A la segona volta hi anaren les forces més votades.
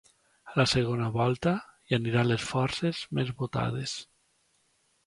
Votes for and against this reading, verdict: 1, 2, rejected